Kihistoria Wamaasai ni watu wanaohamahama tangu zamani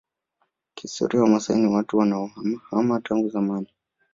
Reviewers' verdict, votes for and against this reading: accepted, 2, 0